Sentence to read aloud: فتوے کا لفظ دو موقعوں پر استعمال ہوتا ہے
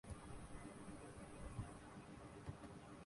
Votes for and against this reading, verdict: 0, 2, rejected